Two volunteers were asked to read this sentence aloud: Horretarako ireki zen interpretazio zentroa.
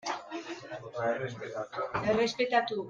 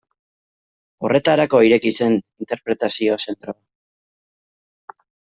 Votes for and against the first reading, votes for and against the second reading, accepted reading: 1, 2, 2, 1, second